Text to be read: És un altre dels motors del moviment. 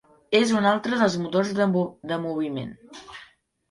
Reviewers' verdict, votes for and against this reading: rejected, 0, 2